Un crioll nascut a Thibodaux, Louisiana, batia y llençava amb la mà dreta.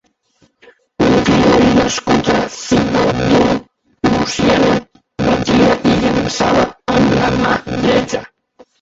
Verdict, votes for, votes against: rejected, 1, 3